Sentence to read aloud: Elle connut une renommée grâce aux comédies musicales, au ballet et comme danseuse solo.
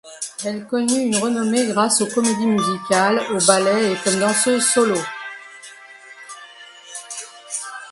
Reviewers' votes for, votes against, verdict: 0, 2, rejected